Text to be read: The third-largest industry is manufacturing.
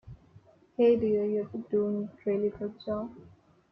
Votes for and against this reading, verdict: 1, 2, rejected